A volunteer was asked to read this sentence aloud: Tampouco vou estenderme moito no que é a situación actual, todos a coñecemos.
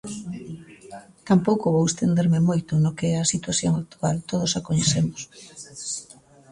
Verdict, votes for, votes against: rejected, 1, 2